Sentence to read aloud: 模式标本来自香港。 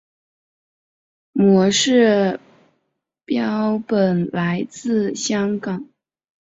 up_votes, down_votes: 3, 1